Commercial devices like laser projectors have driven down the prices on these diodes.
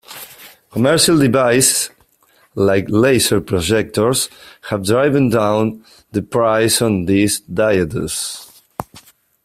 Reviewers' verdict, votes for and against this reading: rejected, 0, 2